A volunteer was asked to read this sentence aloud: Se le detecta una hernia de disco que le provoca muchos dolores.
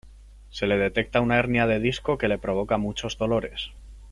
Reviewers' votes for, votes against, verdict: 2, 0, accepted